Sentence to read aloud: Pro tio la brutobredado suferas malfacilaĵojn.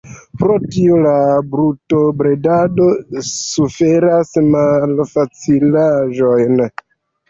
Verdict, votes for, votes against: rejected, 0, 2